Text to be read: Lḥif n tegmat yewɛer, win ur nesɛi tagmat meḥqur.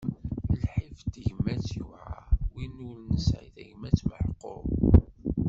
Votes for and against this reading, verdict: 1, 2, rejected